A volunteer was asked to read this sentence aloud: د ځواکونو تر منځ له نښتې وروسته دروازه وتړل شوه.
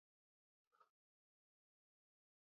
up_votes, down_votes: 0, 2